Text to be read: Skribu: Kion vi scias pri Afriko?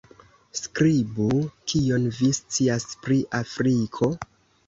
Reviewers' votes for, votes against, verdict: 2, 0, accepted